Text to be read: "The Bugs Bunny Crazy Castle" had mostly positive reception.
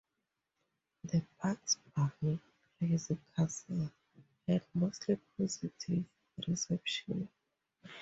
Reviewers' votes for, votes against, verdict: 0, 2, rejected